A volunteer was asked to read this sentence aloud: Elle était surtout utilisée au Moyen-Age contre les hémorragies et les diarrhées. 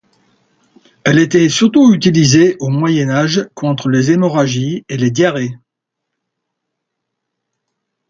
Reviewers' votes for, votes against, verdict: 2, 0, accepted